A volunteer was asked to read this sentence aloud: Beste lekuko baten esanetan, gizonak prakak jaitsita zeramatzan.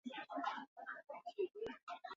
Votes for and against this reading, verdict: 0, 4, rejected